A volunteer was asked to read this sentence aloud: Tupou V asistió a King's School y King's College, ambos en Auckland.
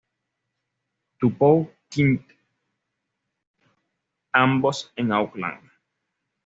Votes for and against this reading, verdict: 1, 2, rejected